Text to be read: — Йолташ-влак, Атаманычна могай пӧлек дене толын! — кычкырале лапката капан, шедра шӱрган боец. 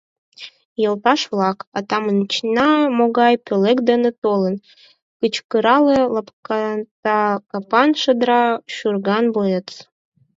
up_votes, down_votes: 0, 4